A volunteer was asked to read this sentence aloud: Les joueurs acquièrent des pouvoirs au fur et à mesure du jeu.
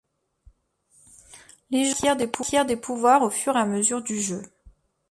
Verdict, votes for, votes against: rejected, 1, 2